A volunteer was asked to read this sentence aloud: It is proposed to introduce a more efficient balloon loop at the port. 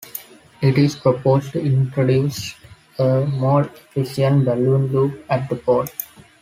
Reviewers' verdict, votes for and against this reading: rejected, 1, 2